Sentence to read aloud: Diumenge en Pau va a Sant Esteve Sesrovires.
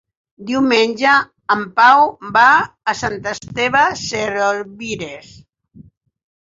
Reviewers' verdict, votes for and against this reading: rejected, 0, 4